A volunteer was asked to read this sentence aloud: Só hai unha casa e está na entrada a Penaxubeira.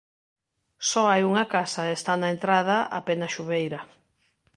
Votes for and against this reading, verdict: 3, 0, accepted